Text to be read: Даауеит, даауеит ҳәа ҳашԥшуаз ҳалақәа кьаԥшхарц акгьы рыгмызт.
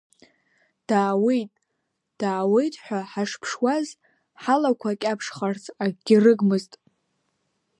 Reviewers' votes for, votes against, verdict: 2, 0, accepted